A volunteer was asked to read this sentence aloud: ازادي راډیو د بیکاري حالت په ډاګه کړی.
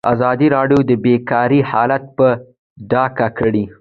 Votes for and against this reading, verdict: 2, 0, accepted